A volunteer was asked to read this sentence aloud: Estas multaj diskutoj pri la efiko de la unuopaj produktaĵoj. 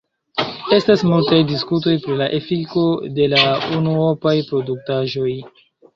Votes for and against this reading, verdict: 2, 0, accepted